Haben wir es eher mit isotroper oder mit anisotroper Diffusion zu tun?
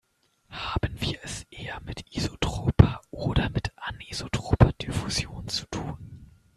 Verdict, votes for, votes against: rejected, 0, 2